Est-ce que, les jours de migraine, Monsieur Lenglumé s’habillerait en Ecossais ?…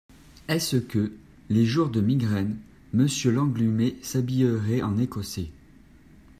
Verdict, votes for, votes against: rejected, 1, 2